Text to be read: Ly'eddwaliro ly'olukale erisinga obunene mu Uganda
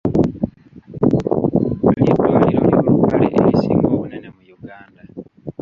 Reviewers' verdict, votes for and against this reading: rejected, 1, 2